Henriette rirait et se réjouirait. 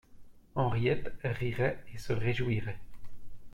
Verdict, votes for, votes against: accepted, 2, 0